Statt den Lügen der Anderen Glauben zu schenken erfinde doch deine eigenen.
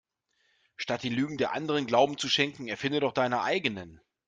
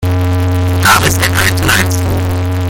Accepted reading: first